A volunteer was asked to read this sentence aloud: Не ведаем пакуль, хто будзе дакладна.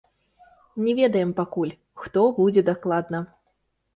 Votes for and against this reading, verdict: 1, 2, rejected